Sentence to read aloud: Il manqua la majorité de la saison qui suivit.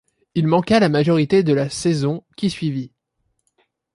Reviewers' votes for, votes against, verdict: 2, 0, accepted